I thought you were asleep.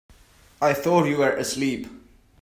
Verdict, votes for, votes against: accepted, 2, 0